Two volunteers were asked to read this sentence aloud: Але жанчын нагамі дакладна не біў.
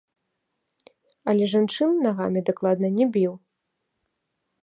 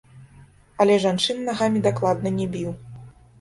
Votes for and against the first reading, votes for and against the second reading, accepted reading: 2, 0, 0, 2, first